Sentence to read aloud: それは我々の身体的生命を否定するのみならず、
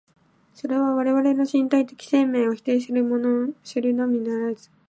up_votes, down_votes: 1, 2